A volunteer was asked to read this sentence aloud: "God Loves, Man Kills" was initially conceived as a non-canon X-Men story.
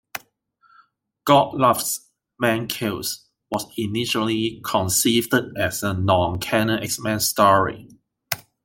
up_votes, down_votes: 2, 0